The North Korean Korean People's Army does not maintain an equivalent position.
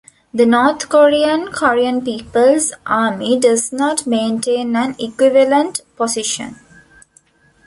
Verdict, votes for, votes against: accepted, 2, 0